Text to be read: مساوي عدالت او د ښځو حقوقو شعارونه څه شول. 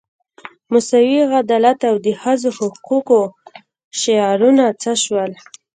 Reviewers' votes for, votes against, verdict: 2, 0, accepted